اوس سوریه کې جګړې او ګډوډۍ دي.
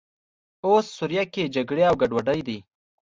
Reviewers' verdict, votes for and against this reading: accepted, 2, 0